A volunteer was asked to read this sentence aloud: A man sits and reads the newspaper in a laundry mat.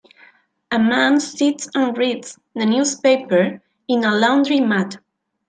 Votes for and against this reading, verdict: 2, 1, accepted